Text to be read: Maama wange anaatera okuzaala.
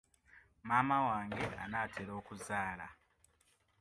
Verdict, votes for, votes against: accepted, 2, 0